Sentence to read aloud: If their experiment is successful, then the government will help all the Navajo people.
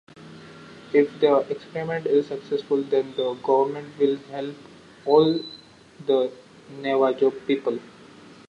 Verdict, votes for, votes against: rejected, 1, 2